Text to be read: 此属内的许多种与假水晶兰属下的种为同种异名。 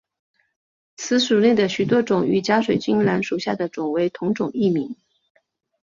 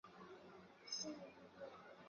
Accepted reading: first